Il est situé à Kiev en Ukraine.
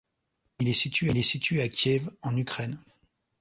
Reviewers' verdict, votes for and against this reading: rejected, 0, 2